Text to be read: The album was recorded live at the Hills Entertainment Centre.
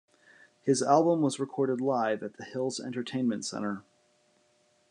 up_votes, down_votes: 1, 2